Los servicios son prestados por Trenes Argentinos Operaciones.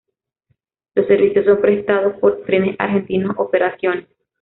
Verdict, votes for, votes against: rejected, 0, 2